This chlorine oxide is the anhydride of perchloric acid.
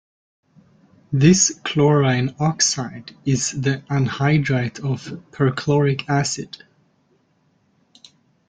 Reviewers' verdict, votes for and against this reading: accepted, 2, 0